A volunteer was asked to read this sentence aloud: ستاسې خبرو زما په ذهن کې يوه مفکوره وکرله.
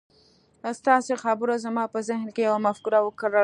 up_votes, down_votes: 1, 2